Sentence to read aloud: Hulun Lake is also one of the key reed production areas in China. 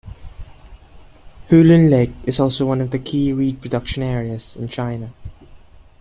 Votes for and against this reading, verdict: 2, 0, accepted